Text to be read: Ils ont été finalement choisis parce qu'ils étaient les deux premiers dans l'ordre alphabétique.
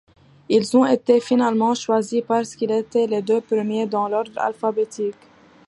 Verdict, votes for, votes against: accepted, 2, 0